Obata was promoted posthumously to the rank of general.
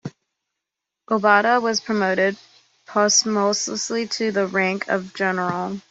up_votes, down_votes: 2, 0